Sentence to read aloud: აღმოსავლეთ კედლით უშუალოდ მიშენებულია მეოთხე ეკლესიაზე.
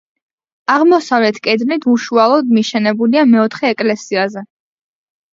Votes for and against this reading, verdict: 2, 0, accepted